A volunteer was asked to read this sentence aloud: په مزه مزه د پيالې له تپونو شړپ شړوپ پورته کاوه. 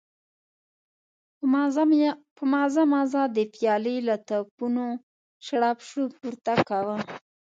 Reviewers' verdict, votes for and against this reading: rejected, 1, 2